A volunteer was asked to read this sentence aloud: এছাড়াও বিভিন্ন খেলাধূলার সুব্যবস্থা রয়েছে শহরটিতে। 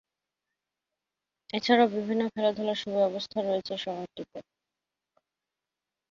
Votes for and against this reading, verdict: 3, 1, accepted